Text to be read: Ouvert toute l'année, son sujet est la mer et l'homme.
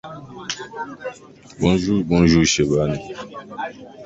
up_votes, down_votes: 0, 2